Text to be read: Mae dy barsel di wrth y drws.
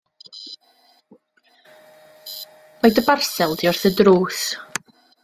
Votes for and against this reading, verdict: 2, 0, accepted